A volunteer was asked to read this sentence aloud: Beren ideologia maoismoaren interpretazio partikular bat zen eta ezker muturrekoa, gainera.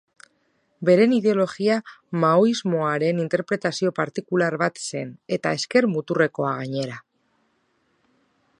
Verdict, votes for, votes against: accepted, 2, 0